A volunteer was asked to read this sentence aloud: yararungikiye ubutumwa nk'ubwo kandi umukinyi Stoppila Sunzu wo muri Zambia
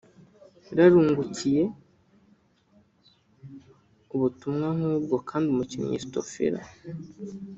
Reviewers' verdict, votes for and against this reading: rejected, 0, 2